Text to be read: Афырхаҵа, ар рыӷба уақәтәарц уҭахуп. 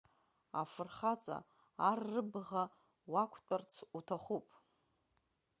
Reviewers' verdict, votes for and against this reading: accepted, 2, 0